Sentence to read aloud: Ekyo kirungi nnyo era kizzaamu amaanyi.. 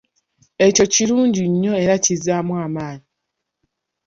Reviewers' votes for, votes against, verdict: 0, 2, rejected